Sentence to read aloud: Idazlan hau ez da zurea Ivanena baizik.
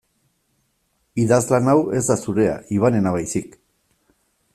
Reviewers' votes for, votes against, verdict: 2, 0, accepted